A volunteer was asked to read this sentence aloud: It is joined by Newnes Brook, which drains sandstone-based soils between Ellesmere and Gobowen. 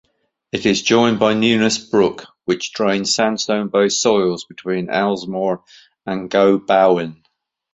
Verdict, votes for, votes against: accepted, 2, 1